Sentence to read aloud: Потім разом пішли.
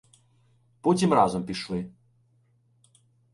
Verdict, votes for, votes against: accepted, 2, 0